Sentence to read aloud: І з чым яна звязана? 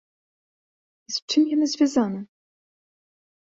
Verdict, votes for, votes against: rejected, 1, 2